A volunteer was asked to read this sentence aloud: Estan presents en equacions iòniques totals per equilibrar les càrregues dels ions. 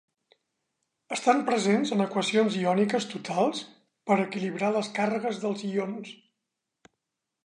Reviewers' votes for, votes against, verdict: 0, 2, rejected